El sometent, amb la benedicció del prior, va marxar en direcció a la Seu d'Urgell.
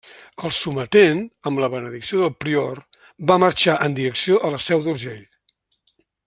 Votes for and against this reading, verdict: 2, 0, accepted